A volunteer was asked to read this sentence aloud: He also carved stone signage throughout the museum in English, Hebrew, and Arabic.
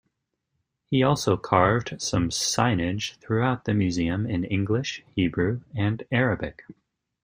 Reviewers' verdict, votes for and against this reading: rejected, 1, 2